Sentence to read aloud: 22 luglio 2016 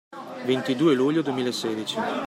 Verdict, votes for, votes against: rejected, 0, 2